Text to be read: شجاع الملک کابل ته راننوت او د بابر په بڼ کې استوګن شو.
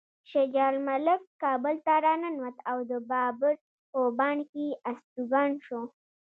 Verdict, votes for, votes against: rejected, 1, 2